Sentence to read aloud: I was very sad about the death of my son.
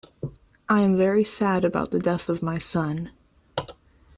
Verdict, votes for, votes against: rejected, 2, 3